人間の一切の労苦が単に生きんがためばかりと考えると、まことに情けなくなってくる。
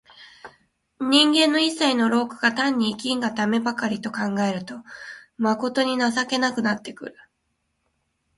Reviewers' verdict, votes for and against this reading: accepted, 2, 0